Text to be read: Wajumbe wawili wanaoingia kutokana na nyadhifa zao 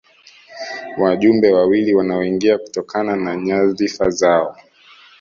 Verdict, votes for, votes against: accepted, 2, 1